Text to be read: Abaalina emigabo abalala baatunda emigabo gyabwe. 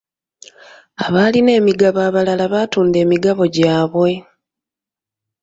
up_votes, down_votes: 2, 0